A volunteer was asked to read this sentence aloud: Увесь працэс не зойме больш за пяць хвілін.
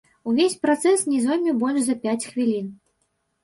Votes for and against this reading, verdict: 3, 4, rejected